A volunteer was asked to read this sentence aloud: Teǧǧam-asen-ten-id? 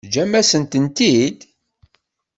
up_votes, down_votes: 1, 2